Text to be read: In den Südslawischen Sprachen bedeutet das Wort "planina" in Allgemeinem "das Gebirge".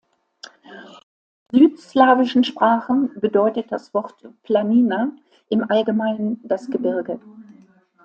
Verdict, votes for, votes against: rejected, 0, 3